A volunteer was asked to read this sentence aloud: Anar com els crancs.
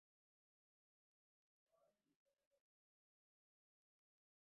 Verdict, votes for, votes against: rejected, 0, 2